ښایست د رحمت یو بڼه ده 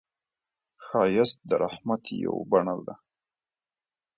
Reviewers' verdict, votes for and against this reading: accepted, 2, 0